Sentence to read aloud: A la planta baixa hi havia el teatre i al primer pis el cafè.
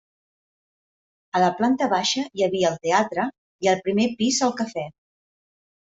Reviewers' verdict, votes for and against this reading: accepted, 2, 0